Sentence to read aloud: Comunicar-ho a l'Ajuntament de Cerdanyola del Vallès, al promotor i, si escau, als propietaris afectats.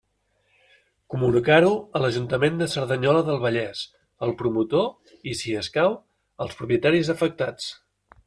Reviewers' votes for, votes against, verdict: 2, 0, accepted